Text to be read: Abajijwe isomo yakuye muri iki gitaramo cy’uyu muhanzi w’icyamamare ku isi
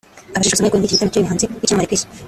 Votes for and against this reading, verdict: 0, 2, rejected